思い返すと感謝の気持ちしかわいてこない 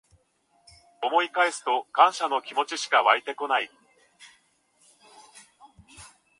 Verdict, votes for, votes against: accepted, 4, 2